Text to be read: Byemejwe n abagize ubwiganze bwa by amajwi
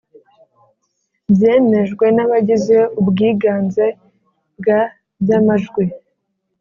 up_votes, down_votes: 2, 0